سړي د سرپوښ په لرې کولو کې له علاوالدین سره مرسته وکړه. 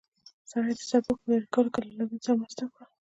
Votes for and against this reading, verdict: 1, 2, rejected